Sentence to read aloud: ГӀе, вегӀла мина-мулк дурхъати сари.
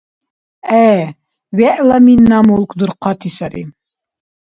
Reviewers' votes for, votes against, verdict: 2, 0, accepted